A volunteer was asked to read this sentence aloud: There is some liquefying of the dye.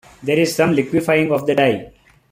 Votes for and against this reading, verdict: 2, 0, accepted